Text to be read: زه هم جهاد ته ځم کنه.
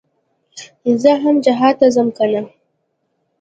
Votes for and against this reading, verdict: 2, 0, accepted